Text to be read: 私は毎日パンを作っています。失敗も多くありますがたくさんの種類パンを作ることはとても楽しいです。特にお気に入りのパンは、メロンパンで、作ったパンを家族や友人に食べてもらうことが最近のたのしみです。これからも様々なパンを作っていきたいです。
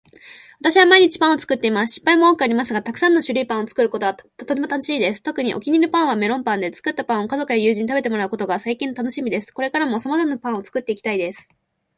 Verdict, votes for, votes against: accepted, 2, 0